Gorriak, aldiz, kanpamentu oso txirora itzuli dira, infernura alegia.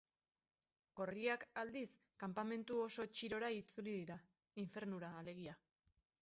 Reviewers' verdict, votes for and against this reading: accepted, 4, 0